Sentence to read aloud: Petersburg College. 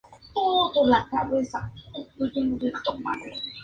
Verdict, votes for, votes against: rejected, 0, 2